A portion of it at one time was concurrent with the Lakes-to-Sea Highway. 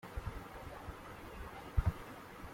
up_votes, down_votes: 0, 2